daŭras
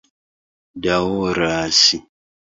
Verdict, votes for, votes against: accepted, 2, 0